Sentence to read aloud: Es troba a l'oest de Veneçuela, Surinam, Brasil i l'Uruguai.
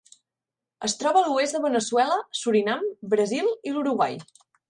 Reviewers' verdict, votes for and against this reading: accepted, 2, 0